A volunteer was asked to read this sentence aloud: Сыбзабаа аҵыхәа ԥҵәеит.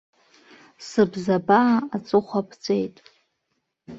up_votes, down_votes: 3, 0